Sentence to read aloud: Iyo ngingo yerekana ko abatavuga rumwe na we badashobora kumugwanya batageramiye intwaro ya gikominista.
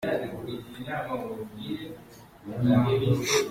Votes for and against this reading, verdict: 0, 2, rejected